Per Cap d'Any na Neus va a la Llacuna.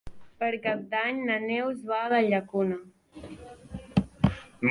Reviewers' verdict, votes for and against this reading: accepted, 3, 0